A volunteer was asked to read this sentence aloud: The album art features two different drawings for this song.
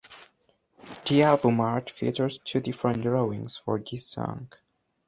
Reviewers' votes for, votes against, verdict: 1, 2, rejected